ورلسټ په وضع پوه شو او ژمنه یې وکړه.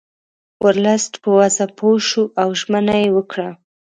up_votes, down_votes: 2, 0